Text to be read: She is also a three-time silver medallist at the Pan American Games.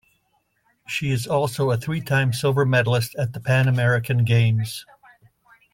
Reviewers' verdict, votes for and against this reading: accepted, 2, 0